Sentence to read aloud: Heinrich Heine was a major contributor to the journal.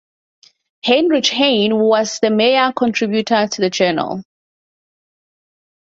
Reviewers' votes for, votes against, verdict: 2, 2, rejected